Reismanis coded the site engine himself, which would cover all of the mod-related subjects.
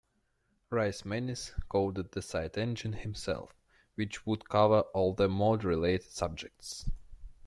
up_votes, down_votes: 2, 0